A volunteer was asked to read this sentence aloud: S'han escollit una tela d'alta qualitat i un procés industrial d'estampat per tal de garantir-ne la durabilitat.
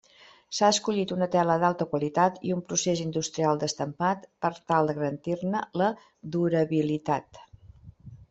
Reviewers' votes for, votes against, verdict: 0, 2, rejected